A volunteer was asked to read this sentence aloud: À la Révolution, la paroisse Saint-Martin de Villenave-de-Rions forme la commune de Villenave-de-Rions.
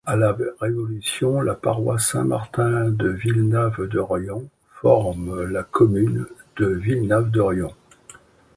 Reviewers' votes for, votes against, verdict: 2, 0, accepted